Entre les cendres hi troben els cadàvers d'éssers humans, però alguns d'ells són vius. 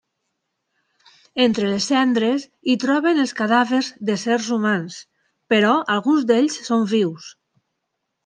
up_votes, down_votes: 2, 1